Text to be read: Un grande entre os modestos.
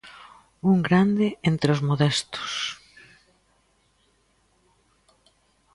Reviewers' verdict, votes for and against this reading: accepted, 2, 0